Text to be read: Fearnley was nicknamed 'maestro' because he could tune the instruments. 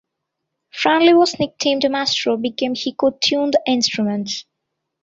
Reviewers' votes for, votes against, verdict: 1, 2, rejected